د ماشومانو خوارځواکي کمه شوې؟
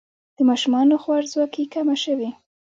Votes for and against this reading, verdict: 2, 1, accepted